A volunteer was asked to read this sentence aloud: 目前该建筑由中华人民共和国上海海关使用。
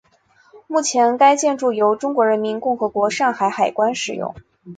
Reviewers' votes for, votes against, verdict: 3, 0, accepted